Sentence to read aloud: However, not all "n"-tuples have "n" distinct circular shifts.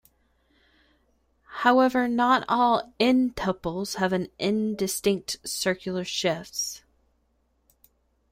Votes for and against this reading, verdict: 0, 2, rejected